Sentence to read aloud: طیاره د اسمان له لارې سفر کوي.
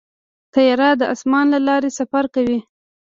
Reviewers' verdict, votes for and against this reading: rejected, 1, 2